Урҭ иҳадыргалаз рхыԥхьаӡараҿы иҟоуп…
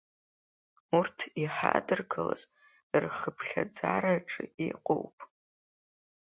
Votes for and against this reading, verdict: 2, 0, accepted